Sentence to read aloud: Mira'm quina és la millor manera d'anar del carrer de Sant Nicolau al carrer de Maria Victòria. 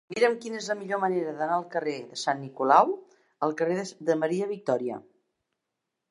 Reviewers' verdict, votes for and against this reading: rejected, 0, 2